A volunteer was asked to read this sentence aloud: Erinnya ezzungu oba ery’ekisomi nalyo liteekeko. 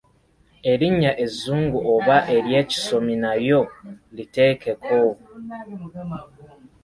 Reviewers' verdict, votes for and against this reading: accepted, 2, 0